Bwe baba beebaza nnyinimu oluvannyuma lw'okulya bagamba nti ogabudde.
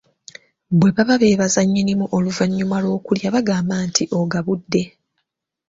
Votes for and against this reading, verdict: 2, 0, accepted